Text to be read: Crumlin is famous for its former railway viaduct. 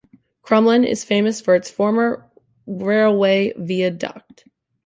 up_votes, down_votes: 1, 2